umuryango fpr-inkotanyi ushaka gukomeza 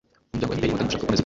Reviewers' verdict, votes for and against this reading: rejected, 0, 2